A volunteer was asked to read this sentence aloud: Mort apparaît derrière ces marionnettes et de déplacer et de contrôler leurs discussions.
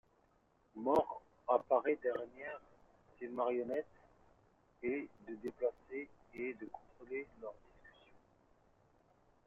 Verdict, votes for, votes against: rejected, 1, 2